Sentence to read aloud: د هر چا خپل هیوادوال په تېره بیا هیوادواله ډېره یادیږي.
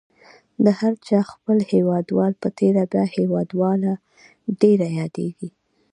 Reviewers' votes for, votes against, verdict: 2, 0, accepted